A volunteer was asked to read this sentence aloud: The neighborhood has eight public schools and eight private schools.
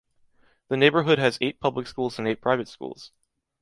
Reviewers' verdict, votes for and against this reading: accepted, 2, 0